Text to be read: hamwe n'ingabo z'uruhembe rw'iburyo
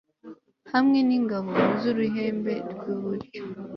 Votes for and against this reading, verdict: 2, 0, accepted